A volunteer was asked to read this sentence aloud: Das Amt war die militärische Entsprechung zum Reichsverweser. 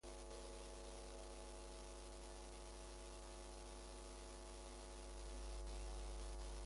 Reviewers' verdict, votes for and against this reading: rejected, 0, 2